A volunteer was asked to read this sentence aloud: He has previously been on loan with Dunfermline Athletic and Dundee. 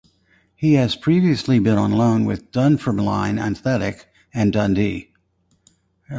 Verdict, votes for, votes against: accepted, 4, 0